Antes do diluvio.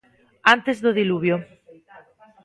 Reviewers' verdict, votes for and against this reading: rejected, 1, 2